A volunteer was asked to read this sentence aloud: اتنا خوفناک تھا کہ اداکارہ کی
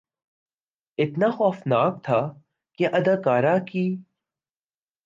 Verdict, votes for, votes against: accepted, 2, 0